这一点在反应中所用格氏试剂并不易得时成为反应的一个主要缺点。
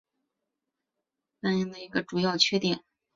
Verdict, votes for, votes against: rejected, 0, 2